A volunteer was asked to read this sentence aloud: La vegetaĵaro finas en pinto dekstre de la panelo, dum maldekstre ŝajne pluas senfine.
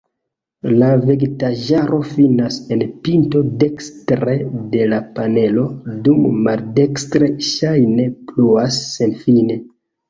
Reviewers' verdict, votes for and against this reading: rejected, 0, 2